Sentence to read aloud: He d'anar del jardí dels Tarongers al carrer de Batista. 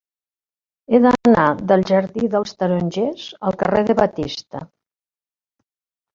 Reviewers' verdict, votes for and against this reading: rejected, 1, 2